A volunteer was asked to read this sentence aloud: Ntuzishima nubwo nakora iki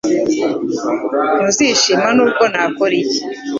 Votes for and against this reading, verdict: 2, 0, accepted